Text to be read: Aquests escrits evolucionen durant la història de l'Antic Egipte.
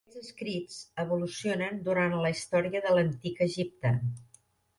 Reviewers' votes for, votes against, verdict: 1, 2, rejected